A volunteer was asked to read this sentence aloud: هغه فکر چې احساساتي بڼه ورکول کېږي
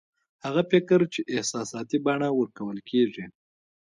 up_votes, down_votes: 2, 1